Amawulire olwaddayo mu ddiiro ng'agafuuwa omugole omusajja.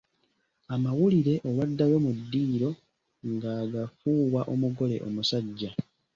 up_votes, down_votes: 3, 0